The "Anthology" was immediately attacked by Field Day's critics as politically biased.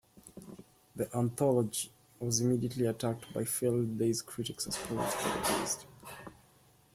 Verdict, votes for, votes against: accepted, 2, 1